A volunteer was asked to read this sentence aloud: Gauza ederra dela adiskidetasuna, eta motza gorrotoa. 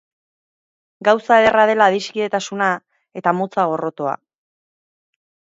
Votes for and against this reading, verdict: 3, 0, accepted